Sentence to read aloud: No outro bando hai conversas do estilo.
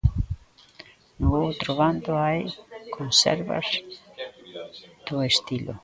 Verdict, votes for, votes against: rejected, 0, 2